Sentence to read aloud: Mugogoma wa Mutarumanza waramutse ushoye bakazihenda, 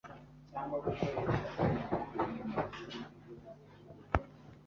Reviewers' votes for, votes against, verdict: 0, 2, rejected